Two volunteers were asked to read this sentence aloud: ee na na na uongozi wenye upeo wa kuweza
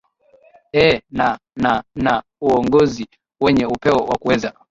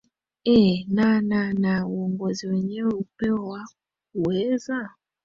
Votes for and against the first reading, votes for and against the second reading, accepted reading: 5, 4, 0, 2, first